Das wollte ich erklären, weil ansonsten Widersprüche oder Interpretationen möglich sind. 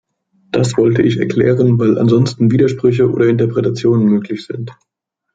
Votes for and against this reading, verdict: 2, 0, accepted